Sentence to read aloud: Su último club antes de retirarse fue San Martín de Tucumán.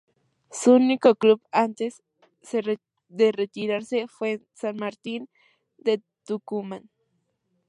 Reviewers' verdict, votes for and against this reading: rejected, 0, 2